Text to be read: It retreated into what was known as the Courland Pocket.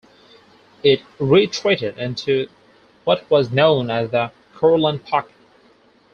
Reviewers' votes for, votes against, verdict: 2, 4, rejected